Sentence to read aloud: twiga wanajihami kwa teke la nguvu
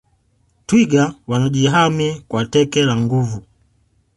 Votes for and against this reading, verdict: 3, 0, accepted